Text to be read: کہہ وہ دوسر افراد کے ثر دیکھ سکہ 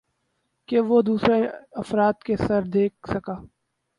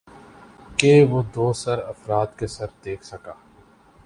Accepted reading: second